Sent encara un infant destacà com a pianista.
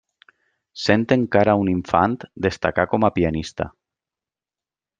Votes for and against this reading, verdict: 2, 0, accepted